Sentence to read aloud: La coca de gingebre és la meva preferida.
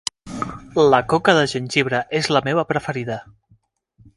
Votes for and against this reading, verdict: 1, 2, rejected